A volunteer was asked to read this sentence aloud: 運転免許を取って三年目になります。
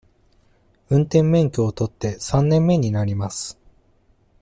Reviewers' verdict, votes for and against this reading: accepted, 2, 0